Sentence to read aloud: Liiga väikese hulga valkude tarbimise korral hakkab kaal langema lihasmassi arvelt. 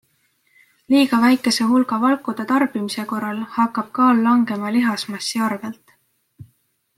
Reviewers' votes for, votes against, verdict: 2, 0, accepted